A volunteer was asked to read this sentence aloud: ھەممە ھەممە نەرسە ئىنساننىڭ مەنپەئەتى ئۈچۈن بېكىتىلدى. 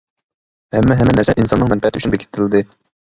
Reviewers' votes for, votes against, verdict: 0, 2, rejected